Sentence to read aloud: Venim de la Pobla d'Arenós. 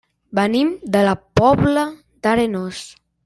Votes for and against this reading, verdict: 0, 2, rejected